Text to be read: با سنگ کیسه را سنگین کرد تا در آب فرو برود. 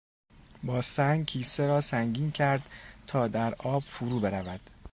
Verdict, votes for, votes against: accepted, 2, 0